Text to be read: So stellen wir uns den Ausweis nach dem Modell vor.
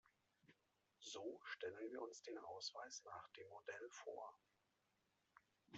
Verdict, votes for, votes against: rejected, 1, 2